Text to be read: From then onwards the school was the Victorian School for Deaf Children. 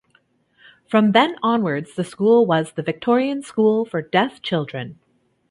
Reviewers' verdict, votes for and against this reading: accepted, 2, 1